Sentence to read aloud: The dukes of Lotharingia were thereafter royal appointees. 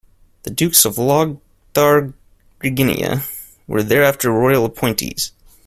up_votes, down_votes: 1, 2